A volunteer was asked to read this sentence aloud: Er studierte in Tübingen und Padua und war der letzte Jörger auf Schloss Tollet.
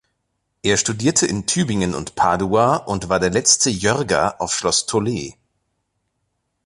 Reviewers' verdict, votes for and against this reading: accepted, 2, 0